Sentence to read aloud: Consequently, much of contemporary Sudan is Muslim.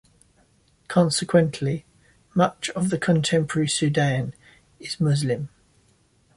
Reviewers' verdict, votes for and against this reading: rejected, 0, 2